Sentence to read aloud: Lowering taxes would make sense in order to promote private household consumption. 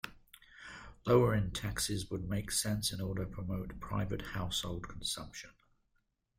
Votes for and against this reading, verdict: 2, 0, accepted